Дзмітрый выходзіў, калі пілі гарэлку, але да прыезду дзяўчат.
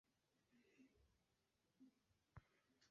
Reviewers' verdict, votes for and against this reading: rejected, 1, 2